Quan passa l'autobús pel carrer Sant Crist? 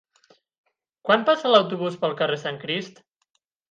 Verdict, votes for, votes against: accepted, 8, 0